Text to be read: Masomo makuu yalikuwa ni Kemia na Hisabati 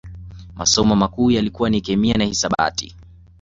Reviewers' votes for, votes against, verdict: 2, 0, accepted